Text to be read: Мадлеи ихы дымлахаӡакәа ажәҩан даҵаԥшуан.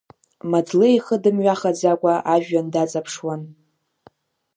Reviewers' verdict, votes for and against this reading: rejected, 0, 2